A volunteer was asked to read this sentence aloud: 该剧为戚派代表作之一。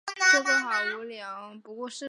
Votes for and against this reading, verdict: 0, 2, rejected